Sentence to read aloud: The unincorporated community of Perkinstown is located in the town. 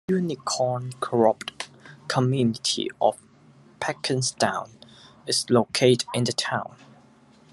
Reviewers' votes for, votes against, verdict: 2, 1, accepted